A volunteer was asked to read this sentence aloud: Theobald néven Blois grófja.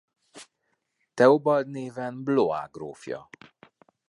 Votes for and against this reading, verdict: 2, 0, accepted